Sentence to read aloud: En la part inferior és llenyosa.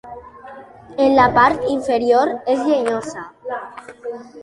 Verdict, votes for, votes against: accepted, 2, 0